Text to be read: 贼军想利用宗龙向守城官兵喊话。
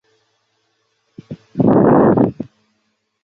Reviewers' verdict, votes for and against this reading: rejected, 0, 3